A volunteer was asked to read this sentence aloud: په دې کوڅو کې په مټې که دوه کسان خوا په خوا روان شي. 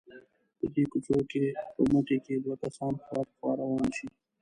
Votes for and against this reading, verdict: 0, 2, rejected